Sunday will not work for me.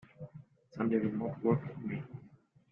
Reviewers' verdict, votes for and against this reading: rejected, 0, 2